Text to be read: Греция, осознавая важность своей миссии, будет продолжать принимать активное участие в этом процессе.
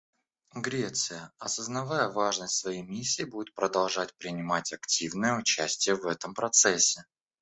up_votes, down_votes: 2, 1